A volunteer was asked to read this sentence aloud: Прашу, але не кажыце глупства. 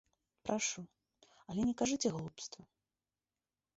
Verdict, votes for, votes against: rejected, 1, 2